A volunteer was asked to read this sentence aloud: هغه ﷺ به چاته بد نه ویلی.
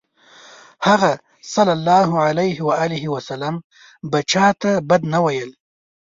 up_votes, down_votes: 2, 0